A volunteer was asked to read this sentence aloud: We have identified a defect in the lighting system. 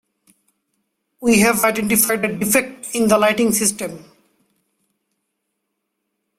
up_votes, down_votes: 0, 2